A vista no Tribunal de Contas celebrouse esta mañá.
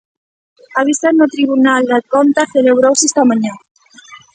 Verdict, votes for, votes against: rejected, 1, 2